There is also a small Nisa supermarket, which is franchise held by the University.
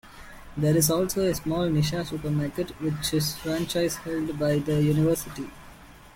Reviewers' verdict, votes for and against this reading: rejected, 1, 2